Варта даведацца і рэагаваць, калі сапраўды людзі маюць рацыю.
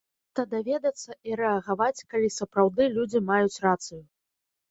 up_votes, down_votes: 0, 2